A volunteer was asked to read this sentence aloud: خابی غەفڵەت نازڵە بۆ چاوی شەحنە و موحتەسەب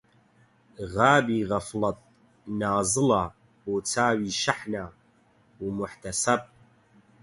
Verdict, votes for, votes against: rejected, 4, 4